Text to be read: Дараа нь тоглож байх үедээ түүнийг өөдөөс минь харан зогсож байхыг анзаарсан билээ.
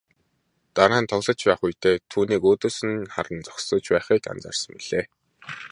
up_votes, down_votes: 2, 1